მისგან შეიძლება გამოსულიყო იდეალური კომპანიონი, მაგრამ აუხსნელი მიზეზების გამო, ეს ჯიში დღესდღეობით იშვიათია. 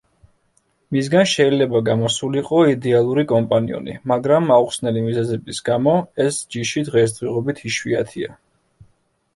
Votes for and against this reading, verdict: 0, 2, rejected